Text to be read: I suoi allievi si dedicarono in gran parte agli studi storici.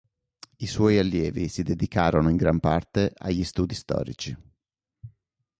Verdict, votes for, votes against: accepted, 4, 0